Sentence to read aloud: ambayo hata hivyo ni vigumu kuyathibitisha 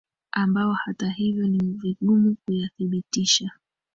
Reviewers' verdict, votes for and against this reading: rejected, 0, 2